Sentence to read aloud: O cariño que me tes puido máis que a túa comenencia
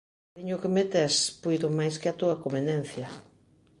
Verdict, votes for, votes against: rejected, 0, 2